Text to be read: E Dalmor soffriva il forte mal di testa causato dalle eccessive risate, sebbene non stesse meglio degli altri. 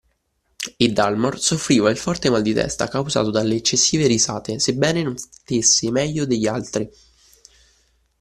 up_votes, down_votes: 1, 2